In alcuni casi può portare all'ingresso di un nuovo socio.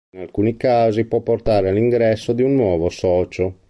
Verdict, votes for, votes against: accepted, 2, 0